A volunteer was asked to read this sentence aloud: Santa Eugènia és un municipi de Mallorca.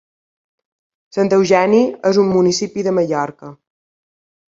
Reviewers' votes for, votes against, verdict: 1, 2, rejected